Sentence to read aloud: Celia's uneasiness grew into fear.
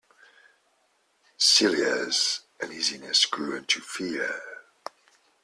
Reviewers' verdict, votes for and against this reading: accepted, 2, 0